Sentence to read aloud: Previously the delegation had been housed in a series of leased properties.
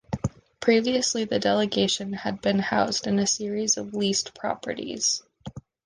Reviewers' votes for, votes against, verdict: 2, 0, accepted